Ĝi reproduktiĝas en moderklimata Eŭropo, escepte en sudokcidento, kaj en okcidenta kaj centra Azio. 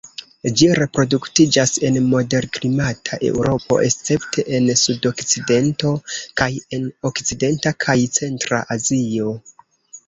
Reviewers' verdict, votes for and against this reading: rejected, 0, 2